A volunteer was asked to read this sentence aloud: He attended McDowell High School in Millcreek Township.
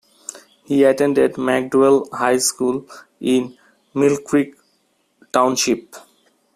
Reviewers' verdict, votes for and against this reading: accepted, 2, 0